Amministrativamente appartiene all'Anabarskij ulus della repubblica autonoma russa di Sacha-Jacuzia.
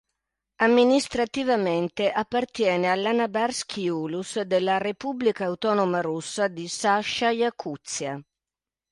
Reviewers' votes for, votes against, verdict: 2, 0, accepted